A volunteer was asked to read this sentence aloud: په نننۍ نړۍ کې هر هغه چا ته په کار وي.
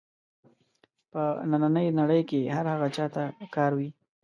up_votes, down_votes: 2, 0